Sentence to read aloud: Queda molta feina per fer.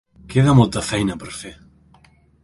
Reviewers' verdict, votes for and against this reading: accepted, 3, 0